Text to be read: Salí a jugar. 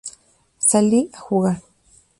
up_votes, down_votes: 2, 0